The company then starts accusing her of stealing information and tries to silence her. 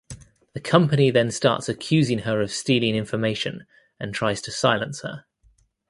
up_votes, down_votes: 2, 0